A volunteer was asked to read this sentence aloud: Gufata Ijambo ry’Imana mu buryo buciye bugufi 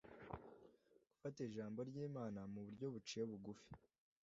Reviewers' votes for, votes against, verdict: 2, 0, accepted